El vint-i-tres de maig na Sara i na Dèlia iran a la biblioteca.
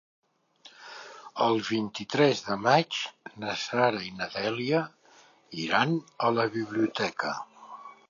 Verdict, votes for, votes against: accepted, 5, 0